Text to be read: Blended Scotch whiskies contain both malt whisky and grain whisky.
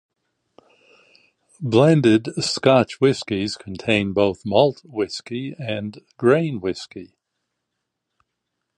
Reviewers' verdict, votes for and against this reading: accepted, 2, 0